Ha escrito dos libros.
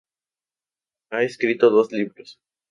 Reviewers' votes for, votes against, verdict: 2, 0, accepted